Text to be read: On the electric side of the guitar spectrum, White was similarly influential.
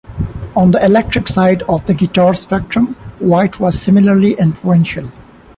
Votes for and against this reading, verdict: 2, 1, accepted